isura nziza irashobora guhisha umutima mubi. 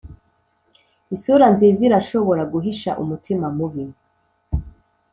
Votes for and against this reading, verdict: 3, 0, accepted